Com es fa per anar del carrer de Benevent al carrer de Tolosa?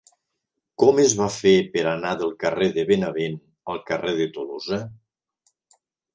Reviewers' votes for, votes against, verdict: 0, 3, rejected